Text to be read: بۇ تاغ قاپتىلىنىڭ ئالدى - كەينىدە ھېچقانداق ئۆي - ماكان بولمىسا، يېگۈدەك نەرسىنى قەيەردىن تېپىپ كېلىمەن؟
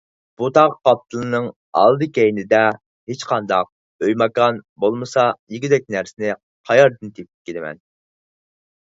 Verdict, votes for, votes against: rejected, 2, 4